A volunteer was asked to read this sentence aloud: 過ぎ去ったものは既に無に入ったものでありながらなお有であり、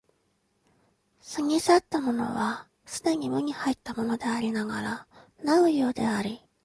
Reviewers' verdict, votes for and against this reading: accepted, 2, 0